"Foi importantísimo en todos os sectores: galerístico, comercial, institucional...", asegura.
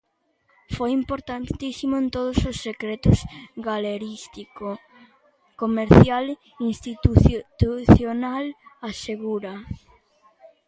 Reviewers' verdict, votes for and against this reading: rejected, 0, 2